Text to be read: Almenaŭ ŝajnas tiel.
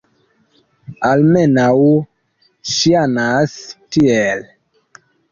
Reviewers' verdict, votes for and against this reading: rejected, 1, 2